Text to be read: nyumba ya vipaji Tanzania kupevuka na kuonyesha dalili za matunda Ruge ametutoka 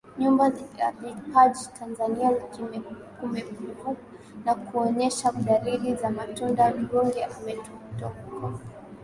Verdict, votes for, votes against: accepted, 5, 4